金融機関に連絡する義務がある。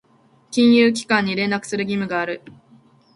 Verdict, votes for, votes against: accepted, 2, 1